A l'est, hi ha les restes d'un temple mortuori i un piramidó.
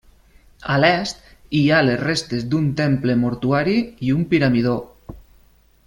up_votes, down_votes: 1, 2